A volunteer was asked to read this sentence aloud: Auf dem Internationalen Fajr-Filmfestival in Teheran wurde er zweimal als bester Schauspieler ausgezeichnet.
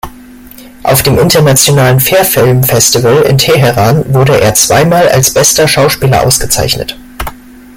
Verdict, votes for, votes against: accepted, 2, 1